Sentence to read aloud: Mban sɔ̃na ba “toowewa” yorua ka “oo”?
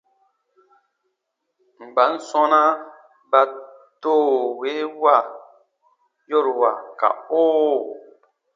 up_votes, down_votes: 2, 0